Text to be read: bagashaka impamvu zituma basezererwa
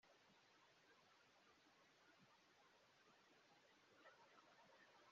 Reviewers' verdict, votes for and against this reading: rejected, 0, 2